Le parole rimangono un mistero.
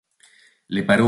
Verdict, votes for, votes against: rejected, 0, 3